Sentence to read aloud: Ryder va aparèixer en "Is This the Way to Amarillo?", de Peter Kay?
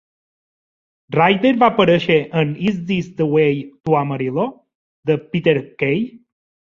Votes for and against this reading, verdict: 2, 0, accepted